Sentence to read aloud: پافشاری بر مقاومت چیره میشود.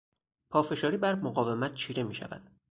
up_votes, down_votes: 2, 0